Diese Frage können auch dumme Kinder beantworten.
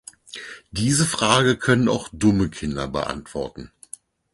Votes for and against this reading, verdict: 4, 0, accepted